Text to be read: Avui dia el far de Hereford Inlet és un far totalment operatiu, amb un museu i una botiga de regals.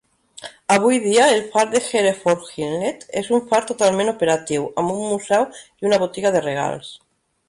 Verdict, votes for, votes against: accepted, 5, 2